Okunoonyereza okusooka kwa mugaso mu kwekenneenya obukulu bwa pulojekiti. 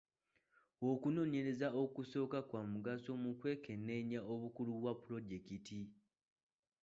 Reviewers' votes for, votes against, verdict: 1, 2, rejected